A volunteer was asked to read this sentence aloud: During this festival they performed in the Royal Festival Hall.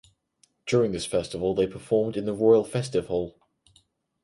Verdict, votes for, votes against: rejected, 2, 4